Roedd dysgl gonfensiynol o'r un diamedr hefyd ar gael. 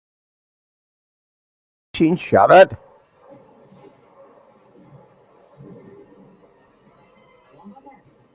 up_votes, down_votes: 0, 2